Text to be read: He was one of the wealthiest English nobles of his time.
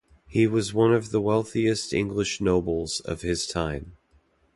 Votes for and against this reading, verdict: 2, 0, accepted